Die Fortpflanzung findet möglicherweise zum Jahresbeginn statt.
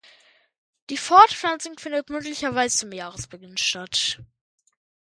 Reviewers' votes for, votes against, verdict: 1, 2, rejected